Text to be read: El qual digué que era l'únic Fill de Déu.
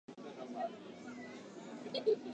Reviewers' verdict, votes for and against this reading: rejected, 0, 2